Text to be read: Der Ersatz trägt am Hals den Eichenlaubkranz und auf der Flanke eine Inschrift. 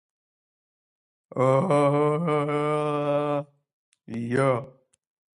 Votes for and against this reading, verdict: 0, 2, rejected